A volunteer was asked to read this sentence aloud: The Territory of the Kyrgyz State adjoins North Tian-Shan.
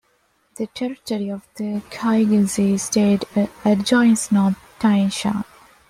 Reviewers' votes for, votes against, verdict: 2, 1, accepted